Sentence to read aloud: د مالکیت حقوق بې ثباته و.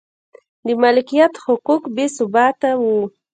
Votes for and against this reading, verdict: 0, 2, rejected